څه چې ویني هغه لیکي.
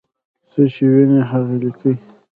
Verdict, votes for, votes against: rejected, 0, 2